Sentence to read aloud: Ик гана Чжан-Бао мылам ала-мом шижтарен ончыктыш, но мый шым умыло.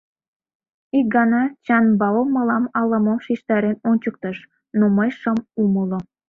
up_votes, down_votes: 0, 2